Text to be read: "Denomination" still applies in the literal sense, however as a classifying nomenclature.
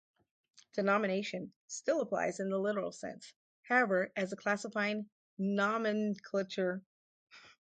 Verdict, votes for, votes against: rejected, 0, 2